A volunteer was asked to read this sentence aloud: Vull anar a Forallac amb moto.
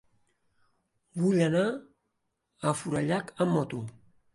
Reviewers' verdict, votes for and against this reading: accepted, 4, 0